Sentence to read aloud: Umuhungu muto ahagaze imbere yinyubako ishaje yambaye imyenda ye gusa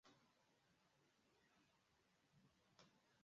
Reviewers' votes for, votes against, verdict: 0, 2, rejected